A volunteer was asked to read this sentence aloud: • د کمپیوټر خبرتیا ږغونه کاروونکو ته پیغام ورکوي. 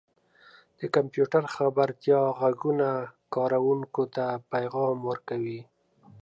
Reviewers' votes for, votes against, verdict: 2, 0, accepted